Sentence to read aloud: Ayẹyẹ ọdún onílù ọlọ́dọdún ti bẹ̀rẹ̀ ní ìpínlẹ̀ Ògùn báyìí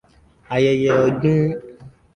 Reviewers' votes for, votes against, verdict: 0, 2, rejected